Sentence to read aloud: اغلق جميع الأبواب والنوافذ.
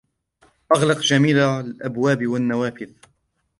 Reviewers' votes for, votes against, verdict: 0, 2, rejected